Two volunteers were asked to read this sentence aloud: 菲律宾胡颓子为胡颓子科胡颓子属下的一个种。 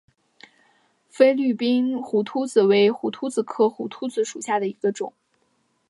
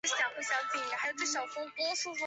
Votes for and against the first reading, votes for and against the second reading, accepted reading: 2, 1, 0, 2, first